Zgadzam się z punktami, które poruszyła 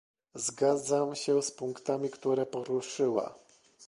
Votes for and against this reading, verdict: 2, 0, accepted